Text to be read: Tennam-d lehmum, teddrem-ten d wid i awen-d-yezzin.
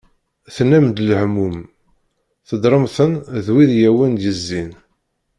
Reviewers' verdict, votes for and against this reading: rejected, 0, 2